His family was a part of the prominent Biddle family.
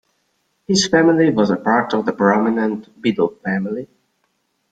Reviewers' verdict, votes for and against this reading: accepted, 2, 0